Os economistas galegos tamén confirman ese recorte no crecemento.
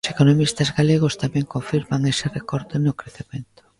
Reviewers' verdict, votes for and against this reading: rejected, 0, 2